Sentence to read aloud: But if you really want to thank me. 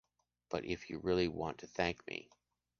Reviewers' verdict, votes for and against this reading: accepted, 2, 0